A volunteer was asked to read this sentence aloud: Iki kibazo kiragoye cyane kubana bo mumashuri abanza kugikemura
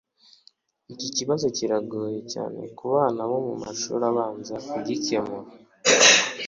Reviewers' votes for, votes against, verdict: 2, 1, accepted